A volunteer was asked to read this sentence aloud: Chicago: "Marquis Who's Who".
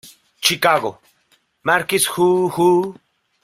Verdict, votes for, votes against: rejected, 0, 2